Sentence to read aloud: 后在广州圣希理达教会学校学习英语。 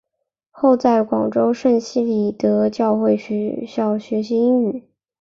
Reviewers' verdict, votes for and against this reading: accepted, 8, 2